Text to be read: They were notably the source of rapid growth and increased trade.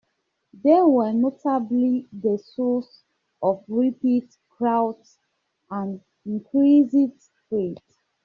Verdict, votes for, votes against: rejected, 0, 2